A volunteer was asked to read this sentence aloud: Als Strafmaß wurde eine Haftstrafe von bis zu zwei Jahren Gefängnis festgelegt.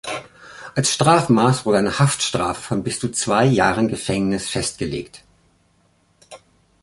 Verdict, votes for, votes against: rejected, 1, 2